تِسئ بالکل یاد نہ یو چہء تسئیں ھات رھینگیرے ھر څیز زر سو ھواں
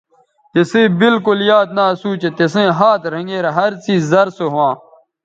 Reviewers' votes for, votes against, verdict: 0, 2, rejected